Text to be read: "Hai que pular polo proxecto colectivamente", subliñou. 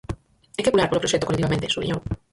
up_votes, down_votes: 0, 4